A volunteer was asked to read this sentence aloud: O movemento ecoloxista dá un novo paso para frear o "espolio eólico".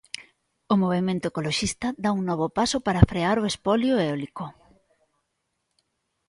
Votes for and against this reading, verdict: 3, 0, accepted